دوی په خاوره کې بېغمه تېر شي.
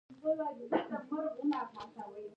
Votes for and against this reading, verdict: 0, 2, rejected